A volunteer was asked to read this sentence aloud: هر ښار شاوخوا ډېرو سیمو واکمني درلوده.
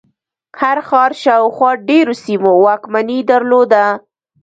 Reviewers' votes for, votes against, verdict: 0, 2, rejected